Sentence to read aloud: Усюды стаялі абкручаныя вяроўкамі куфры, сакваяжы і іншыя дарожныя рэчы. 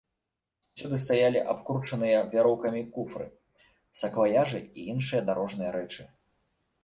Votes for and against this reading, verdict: 0, 2, rejected